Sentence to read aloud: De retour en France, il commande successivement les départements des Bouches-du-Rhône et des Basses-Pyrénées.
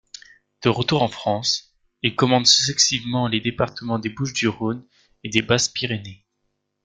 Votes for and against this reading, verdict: 1, 2, rejected